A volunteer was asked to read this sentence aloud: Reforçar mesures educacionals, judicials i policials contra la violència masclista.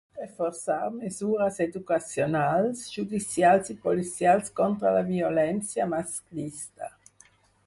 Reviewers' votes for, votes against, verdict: 2, 4, rejected